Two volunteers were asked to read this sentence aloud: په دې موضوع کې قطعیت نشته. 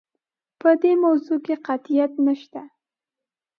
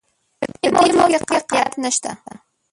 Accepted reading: first